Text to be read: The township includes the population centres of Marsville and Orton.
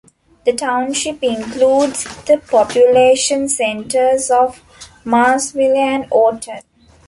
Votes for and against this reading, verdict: 1, 2, rejected